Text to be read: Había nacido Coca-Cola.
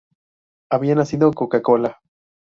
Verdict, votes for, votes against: accepted, 2, 0